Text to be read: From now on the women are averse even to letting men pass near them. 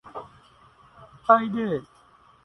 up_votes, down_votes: 0, 2